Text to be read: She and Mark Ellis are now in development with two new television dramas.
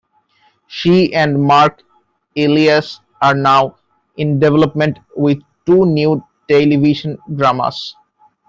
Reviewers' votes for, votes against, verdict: 0, 2, rejected